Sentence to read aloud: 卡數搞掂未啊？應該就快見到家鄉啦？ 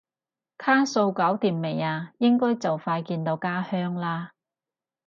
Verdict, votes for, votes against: accepted, 2, 0